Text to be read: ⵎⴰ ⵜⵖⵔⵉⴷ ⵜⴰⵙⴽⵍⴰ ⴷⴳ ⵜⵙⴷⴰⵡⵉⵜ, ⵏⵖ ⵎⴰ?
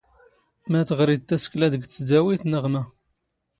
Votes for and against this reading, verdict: 1, 2, rejected